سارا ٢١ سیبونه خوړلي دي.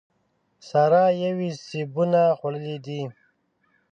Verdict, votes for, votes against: rejected, 0, 2